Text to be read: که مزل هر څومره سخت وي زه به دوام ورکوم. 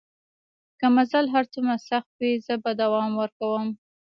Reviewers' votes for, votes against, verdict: 2, 0, accepted